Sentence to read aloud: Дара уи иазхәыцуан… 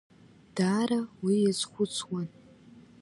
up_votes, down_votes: 1, 2